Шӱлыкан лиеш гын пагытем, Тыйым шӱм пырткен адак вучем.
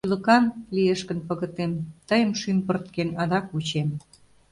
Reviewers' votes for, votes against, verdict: 0, 2, rejected